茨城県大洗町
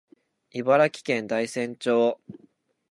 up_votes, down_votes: 2, 1